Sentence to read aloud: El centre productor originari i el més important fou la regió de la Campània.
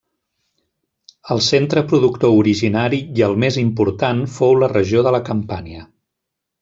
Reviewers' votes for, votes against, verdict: 2, 0, accepted